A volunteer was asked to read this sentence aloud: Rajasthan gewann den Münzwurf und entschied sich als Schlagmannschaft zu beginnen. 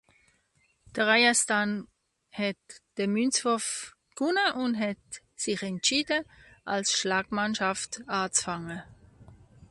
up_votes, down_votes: 0, 2